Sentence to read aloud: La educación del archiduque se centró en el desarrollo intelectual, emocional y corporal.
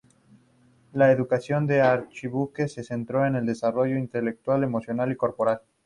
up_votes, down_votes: 2, 2